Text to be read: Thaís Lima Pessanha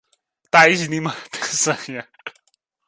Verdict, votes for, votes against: rejected, 0, 2